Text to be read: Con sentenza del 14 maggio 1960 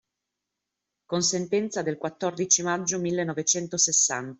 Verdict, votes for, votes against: rejected, 0, 2